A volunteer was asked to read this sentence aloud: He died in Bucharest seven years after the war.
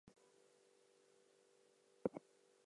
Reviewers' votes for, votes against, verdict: 0, 2, rejected